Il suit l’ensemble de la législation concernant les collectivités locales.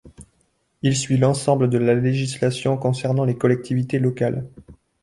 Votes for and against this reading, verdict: 2, 0, accepted